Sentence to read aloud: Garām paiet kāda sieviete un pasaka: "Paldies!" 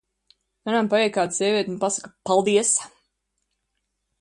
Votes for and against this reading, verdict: 0, 2, rejected